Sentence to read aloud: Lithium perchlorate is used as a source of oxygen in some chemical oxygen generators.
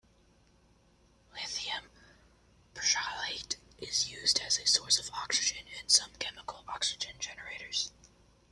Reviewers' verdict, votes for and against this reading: rejected, 0, 2